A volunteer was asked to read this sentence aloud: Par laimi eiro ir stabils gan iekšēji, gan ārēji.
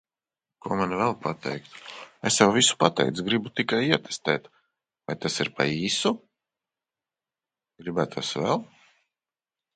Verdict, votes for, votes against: rejected, 0, 2